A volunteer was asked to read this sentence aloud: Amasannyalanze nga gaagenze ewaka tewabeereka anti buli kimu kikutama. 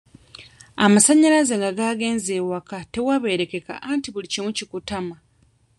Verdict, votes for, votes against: rejected, 0, 2